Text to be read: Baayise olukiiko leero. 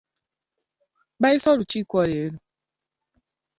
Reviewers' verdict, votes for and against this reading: accepted, 2, 0